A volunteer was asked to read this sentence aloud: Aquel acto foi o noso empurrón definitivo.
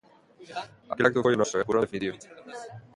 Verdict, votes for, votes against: rejected, 0, 2